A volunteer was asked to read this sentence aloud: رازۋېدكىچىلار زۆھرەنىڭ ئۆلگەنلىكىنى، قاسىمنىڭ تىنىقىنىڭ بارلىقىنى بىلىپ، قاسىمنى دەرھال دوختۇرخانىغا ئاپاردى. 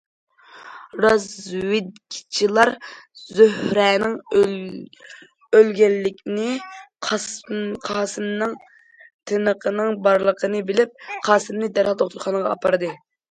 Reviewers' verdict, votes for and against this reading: rejected, 0, 2